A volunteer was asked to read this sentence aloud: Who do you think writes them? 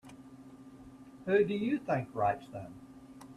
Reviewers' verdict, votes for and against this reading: accepted, 2, 0